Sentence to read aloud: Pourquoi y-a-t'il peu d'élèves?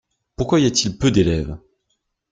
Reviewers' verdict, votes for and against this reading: accepted, 2, 0